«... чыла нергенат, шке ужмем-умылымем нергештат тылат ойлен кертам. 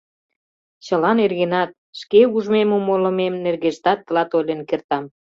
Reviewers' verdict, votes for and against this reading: accepted, 2, 0